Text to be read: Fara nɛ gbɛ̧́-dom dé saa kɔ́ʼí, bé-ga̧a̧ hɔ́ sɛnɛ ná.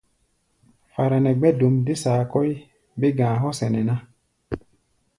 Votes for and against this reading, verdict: 2, 0, accepted